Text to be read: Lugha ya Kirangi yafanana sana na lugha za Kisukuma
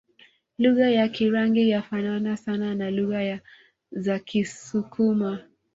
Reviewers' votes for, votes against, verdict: 0, 2, rejected